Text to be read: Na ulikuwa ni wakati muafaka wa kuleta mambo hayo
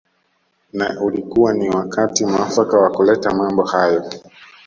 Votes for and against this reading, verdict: 2, 0, accepted